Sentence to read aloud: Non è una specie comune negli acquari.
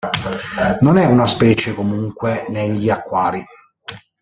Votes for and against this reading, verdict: 0, 2, rejected